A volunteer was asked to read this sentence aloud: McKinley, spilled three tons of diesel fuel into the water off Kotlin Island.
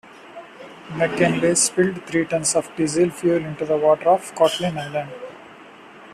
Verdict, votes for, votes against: accepted, 2, 0